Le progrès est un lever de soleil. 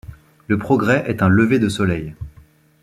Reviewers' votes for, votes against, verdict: 2, 0, accepted